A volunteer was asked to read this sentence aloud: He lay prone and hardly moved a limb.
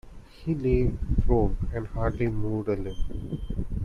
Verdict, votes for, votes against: rejected, 1, 2